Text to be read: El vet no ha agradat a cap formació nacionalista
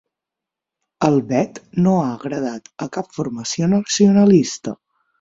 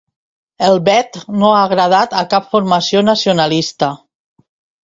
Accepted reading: second